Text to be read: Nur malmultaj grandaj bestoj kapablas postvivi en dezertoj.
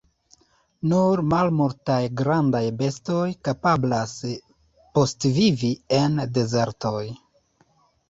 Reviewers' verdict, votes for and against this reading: rejected, 1, 2